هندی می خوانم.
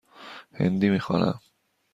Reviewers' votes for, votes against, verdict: 2, 0, accepted